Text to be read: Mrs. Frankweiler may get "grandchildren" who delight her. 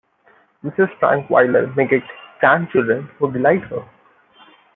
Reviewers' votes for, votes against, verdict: 1, 2, rejected